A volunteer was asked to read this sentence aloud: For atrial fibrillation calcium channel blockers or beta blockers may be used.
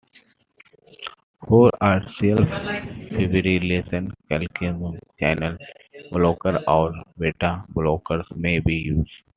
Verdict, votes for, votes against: rejected, 0, 2